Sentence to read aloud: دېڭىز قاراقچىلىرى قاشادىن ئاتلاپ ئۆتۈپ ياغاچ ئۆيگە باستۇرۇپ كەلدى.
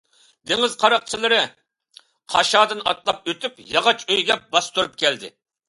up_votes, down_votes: 2, 0